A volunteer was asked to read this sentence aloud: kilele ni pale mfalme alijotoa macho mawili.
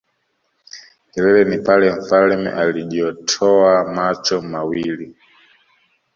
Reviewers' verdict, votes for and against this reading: rejected, 1, 2